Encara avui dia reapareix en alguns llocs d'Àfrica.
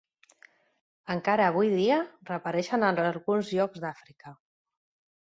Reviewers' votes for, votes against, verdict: 0, 2, rejected